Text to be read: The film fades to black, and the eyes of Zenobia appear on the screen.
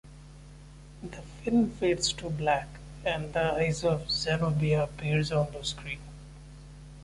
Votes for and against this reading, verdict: 2, 0, accepted